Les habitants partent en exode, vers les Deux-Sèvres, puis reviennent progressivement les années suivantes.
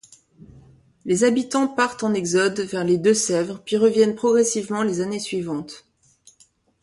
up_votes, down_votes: 2, 0